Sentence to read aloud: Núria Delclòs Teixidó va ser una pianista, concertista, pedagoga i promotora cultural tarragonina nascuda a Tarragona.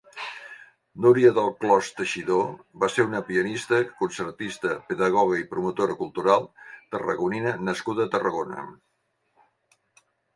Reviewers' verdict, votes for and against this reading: accepted, 2, 0